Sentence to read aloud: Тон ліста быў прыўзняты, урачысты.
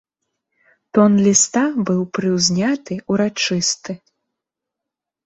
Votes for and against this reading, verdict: 2, 0, accepted